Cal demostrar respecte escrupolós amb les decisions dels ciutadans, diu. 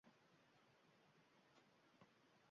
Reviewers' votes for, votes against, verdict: 0, 2, rejected